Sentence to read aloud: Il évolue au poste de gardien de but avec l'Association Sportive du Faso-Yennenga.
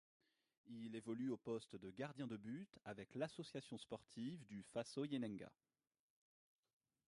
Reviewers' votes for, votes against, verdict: 0, 2, rejected